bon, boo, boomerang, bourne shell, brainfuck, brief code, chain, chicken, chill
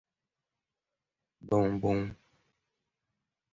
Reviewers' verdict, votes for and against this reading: rejected, 0, 2